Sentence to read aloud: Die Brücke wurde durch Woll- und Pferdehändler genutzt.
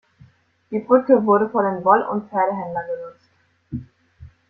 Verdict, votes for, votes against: rejected, 0, 2